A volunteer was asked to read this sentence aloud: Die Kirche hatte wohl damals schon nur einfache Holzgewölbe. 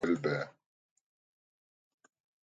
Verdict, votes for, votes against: rejected, 0, 2